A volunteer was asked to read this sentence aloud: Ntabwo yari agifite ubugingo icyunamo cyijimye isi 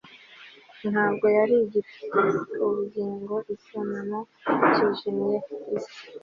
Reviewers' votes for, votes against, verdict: 2, 0, accepted